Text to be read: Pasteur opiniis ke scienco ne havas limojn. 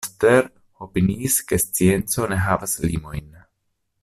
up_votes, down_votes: 0, 2